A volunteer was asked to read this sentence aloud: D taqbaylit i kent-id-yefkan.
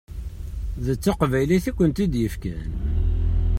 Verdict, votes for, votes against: accepted, 2, 0